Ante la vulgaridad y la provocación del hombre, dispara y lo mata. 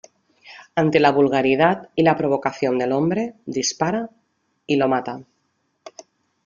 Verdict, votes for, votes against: accepted, 2, 0